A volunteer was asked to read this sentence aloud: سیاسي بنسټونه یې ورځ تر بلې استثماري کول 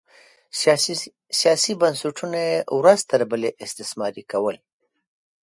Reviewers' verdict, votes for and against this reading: rejected, 0, 2